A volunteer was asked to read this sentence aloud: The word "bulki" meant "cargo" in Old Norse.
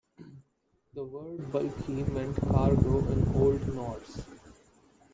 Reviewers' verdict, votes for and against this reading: rejected, 0, 2